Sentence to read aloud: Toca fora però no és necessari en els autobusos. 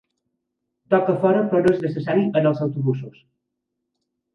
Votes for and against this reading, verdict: 2, 3, rejected